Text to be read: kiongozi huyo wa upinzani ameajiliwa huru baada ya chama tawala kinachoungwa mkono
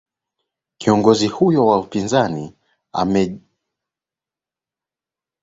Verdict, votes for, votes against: rejected, 20, 22